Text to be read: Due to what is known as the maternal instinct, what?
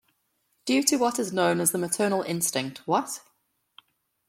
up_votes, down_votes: 2, 0